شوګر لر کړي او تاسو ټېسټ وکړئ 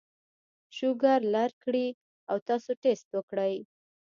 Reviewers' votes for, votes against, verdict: 0, 2, rejected